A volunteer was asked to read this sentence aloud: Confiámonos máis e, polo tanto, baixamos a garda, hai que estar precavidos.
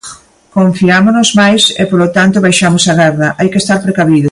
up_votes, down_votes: 2, 1